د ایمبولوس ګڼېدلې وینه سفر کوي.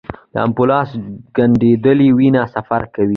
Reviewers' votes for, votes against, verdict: 2, 1, accepted